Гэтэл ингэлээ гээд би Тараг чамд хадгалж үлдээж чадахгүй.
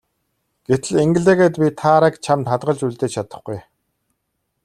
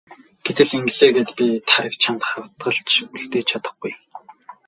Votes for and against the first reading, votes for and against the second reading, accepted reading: 2, 0, 0, 2, first